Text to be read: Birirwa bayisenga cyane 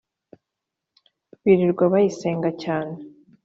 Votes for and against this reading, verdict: 3, 0, accepted